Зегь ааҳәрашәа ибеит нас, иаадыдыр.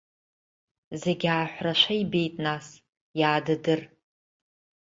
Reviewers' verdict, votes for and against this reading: accepted, 2, 1